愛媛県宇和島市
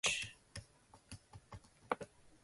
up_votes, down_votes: 0, 2